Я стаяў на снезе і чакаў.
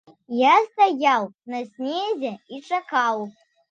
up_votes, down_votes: 2, 0